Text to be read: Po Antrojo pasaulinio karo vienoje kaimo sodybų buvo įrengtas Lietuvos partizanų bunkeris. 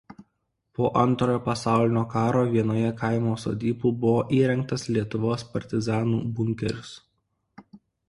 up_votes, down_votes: 2, 0